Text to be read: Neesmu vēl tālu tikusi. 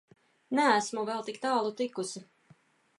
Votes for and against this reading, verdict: 0, 2, rejected